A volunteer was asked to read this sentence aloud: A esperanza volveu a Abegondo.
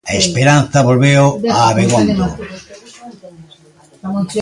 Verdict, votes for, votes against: rejected, 0, 2